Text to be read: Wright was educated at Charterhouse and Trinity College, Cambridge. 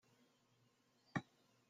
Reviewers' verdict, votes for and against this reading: rejected, 0, 2